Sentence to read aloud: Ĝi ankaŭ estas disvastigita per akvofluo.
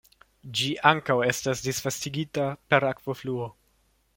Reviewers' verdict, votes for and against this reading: accepted, 2, 0